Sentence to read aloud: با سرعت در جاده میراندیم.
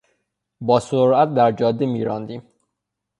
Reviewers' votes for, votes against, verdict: 6, 3, accepted